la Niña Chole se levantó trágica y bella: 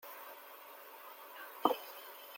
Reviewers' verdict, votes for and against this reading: rejected, 0, 2